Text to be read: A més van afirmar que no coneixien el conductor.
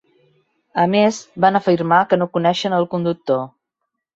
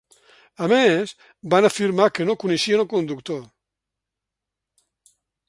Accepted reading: second